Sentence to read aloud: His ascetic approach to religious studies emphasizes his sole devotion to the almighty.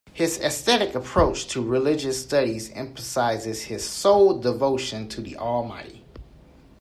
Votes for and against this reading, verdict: 2, 1, accepted